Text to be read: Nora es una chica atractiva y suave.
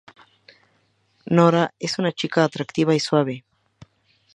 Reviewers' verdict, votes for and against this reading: accepted, 2, 0